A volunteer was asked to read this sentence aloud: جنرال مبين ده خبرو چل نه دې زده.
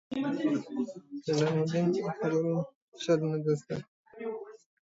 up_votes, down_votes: 2, 0